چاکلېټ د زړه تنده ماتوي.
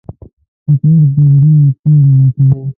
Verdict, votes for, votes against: rejected, 0, 2